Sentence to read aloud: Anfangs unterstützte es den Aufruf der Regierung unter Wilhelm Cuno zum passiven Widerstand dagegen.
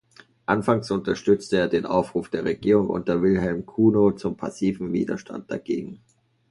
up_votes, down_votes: 1, 2